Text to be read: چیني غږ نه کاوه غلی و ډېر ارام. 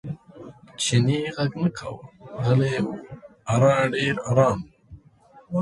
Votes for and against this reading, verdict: 1, 2, rejected